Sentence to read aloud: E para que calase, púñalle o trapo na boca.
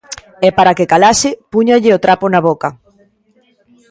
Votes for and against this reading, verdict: 1, 2, rejected